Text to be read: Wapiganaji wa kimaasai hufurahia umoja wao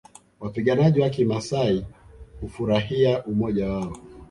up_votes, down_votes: 1, 2